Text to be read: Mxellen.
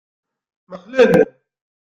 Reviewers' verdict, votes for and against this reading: rejected, 1, 2